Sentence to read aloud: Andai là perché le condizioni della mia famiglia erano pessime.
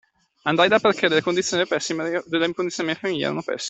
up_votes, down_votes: 0, 2